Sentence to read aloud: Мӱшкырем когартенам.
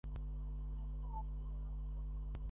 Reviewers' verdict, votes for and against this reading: rejected, 0, 2